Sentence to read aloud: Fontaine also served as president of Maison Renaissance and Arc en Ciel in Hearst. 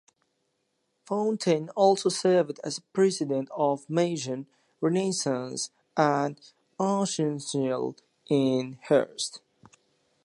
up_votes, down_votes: 0, 2